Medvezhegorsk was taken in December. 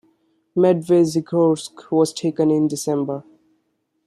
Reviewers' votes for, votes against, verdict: 2, 0, accepted